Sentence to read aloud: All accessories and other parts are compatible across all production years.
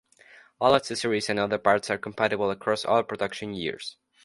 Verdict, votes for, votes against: accepted, 2, 0